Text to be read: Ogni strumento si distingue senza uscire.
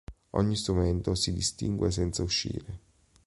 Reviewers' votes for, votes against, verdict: 2, 0, accepted